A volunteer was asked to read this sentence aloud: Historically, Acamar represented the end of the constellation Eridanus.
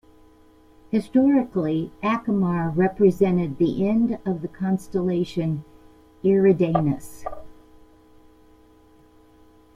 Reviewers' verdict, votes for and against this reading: accepted, 2, 0